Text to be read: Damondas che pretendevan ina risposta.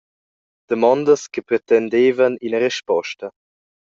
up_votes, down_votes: 2, 0